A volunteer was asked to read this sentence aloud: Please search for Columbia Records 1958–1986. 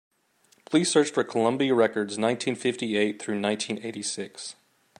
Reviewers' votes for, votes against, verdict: 0, 2, rejected